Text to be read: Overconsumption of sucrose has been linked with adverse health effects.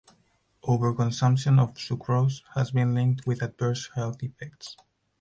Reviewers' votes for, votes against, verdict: 4, 0, accepted